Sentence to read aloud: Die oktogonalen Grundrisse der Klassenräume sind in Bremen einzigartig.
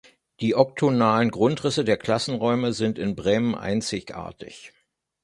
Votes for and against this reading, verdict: 0, 2, rejected